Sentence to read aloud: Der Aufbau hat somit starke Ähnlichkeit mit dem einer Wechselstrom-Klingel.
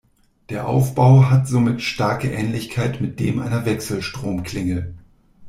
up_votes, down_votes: 2, 0